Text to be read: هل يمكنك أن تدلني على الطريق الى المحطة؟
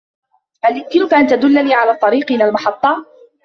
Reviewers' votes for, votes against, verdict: 2, 0, accepted